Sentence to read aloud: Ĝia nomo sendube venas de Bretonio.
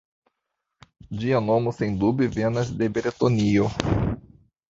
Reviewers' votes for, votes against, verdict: 0, 2, rejected